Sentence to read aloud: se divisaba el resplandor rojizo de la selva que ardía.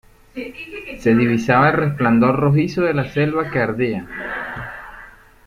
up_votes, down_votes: 1, 2